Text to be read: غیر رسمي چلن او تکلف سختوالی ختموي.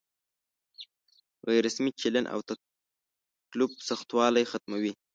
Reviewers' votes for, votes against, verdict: 3, 4, rejected